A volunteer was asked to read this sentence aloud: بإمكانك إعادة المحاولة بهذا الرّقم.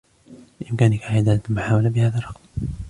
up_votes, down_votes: 1, 2